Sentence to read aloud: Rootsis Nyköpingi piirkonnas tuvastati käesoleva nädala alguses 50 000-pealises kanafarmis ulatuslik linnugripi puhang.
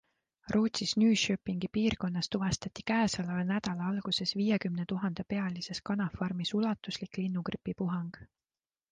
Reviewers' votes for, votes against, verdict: 0, 2, rejected